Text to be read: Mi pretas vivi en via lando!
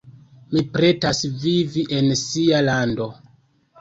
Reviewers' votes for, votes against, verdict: 0, 2, rejected